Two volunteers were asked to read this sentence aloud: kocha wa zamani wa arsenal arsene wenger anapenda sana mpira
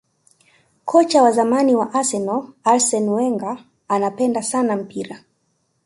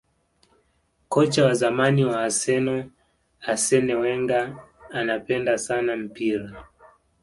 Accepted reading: first